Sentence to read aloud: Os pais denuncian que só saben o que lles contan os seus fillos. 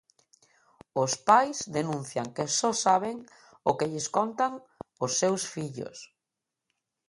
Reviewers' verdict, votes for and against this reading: accepted, 2, 0